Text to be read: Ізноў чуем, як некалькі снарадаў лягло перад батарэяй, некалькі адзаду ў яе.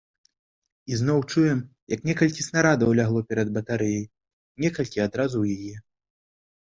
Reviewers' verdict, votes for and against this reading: rejected, 0, 2